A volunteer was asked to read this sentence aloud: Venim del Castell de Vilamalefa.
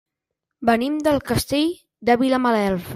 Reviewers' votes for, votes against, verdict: 0, 2, rejected